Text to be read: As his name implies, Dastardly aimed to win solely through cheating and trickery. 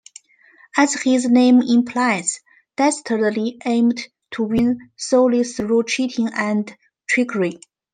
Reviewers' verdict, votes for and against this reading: accepted, 2, 0